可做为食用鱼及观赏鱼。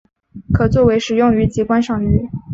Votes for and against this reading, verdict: 2, 0, accepted